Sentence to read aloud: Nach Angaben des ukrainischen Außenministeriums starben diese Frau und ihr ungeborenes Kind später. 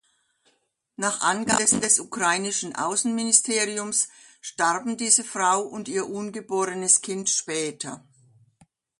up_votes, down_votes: 1, 2